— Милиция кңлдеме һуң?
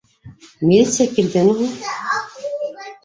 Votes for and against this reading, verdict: 0, 3, rejected